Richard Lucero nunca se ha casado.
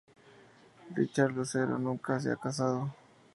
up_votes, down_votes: 2, 0